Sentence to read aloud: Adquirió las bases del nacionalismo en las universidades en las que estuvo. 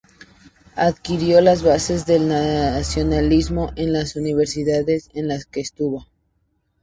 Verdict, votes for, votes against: accepted, 2, 0